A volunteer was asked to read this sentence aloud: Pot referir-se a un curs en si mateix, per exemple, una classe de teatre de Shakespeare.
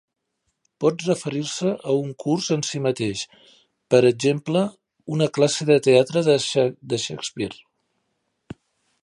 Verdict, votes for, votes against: rejected, 0, 3